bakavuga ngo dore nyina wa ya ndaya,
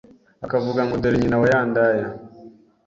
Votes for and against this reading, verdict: 3, 0, accepted